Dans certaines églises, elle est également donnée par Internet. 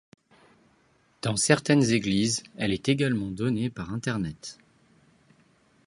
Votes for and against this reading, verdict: 2, 0, accepted